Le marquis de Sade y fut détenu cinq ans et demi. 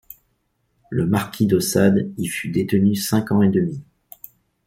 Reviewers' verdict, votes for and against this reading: accepted, 2, 0